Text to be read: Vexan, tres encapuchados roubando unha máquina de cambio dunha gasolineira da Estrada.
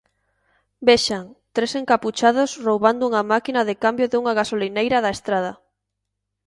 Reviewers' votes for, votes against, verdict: 2, 0, accepted